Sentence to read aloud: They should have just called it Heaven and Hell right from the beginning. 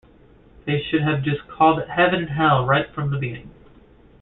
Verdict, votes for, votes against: rejected, 1, 2